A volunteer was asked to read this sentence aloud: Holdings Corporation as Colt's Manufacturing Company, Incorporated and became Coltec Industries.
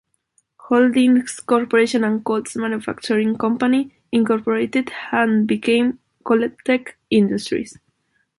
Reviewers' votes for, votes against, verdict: 1, 2, rejected